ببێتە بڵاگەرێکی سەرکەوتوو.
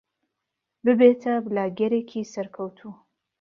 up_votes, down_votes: 0, 2